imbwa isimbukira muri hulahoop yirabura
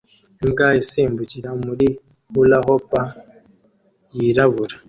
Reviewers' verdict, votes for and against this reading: accepted, 2, 0